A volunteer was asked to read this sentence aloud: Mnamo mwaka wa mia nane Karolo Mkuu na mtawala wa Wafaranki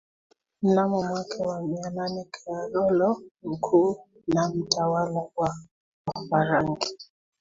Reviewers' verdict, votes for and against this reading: accepted, 2, 1